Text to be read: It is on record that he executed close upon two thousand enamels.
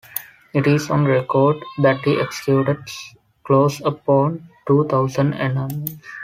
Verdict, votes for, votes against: accepted, 3, 1